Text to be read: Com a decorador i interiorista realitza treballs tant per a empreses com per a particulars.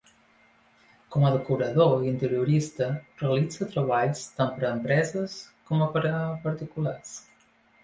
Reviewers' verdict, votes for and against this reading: rejected, 1, 2